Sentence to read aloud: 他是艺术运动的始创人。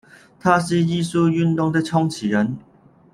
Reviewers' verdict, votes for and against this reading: rejected, 0, 2